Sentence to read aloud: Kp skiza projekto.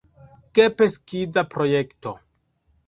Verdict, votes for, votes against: rejected, 0, 2